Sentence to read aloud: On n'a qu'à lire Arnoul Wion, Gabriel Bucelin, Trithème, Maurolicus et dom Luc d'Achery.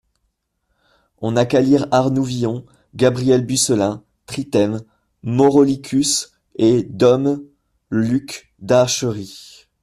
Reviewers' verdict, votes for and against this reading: rejected, 1, 2